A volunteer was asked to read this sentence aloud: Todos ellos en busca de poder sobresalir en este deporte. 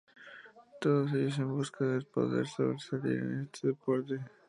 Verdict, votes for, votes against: accepted, 2, 0